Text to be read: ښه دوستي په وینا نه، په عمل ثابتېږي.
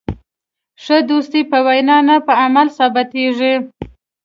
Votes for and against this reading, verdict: 2, 0, accepted